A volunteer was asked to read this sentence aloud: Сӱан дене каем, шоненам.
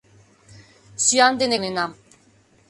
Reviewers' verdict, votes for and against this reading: rejected, 0, 2